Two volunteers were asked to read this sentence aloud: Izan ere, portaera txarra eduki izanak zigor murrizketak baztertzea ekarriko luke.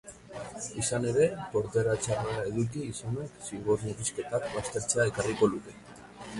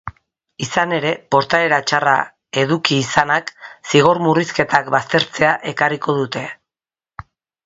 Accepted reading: first